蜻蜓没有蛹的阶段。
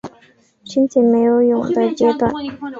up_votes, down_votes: 4, 0